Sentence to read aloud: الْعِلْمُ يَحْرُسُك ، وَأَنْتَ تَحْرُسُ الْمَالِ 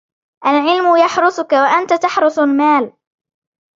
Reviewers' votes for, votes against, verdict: 2, 0, accepted